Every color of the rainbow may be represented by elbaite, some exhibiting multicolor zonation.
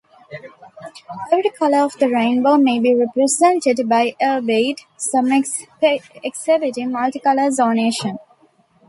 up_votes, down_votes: 1, 2